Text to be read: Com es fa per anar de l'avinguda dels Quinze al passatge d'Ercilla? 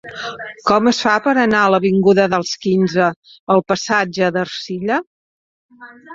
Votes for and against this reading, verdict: 1, 2, rejected